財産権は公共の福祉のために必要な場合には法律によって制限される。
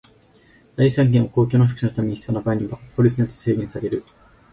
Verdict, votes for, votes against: rejected, 2, 4